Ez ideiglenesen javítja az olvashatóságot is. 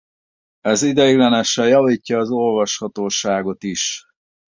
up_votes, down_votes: 2, 0